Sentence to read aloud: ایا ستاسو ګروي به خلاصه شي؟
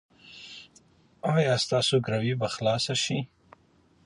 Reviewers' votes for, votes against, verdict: 2, 0, accepted